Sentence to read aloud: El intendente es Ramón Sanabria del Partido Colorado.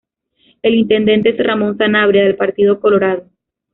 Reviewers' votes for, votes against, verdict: 1, 2, rejected